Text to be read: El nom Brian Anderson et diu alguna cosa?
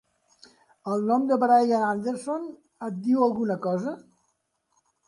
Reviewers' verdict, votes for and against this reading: rejected, 1, 2